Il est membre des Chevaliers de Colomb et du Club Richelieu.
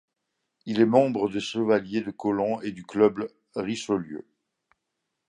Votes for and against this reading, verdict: 0, 2, rejected